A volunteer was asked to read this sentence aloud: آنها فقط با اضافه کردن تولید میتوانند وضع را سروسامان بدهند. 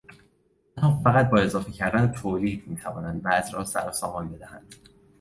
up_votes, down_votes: 1, 2